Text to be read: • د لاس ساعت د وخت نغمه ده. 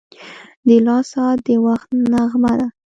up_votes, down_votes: 2, 0